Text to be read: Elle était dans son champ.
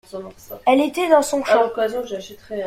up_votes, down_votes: 1, 2